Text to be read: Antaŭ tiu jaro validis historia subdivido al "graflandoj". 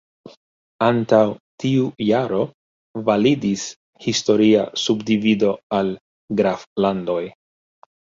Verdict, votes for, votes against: rejected, 1, 2